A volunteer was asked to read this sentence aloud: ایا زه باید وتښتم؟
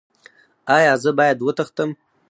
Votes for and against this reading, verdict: 4, 2, accepted